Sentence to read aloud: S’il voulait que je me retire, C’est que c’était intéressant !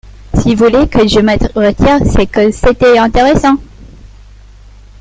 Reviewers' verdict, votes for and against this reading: rejected, 0, 2